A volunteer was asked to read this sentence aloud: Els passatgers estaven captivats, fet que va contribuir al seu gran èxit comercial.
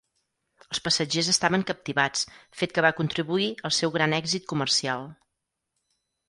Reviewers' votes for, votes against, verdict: 4, 0, accepted